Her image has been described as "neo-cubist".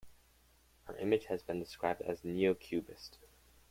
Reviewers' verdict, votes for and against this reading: accepted, 2, 0